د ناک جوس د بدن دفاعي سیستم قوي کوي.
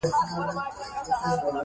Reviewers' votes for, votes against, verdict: 0, 2, rejected